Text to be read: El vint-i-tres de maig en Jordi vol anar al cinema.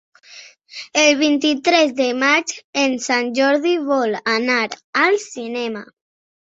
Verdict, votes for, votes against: rejected, 1, 3